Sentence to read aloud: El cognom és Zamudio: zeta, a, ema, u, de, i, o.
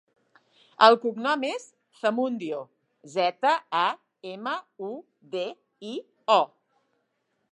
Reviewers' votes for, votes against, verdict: 1, 3, rejected